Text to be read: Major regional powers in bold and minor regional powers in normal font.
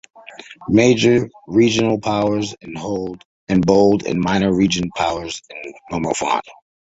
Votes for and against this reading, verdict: 2, 1, accepted